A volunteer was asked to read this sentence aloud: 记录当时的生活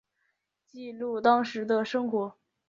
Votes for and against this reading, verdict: 2, 0, accepted